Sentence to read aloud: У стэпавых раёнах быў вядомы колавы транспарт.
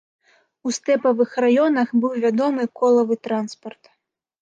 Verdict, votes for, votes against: accepted, 2, 0